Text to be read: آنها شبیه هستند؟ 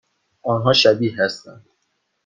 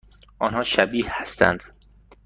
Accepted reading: second